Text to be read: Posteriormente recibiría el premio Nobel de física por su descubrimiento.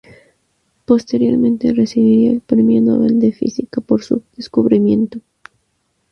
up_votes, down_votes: 0, 2